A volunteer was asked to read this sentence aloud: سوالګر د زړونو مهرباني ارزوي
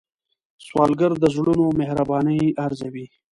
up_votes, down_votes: 2, 0